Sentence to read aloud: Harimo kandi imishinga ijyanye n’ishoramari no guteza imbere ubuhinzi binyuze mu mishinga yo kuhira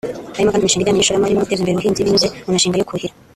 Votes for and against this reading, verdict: 0, 2, rejected